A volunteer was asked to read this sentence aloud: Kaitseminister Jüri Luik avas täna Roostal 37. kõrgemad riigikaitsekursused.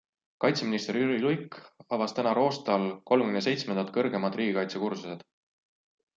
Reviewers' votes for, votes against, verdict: 0, 2, rejected